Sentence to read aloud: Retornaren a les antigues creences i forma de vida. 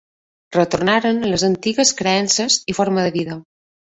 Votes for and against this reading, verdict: 2, 1, accepted